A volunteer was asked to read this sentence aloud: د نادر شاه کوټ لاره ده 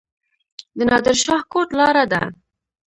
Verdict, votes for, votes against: rejected, 1, 2